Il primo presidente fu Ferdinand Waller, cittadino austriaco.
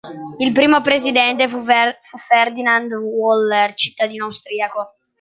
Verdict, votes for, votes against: rejected, 0, 2